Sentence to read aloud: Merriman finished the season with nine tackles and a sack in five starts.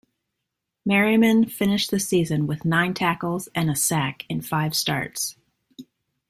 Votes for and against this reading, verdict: 2, 1, accepted